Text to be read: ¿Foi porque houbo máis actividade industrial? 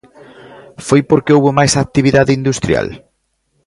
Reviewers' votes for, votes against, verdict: 2, 0, accepted